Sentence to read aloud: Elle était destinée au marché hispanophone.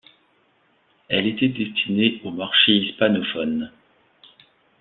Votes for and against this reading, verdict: 2, 0, accepted